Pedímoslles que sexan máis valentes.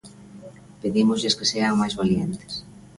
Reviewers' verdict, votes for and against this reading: rejected, 0, 2